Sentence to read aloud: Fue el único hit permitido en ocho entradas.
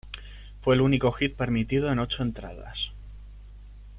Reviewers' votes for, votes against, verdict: 2, 0, accepted